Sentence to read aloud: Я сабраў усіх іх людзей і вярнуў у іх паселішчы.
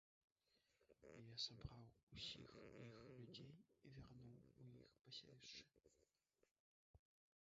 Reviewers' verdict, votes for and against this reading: rejected, 0, 2